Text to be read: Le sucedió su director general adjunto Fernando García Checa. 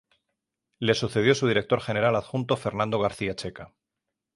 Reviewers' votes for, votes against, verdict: 3, 0, accepted